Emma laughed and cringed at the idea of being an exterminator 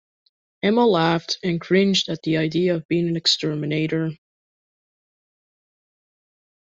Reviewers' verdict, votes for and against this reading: accepted, 2, 0